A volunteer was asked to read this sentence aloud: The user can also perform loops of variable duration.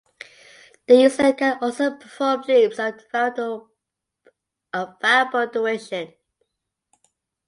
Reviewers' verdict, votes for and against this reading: rejected, 0, 2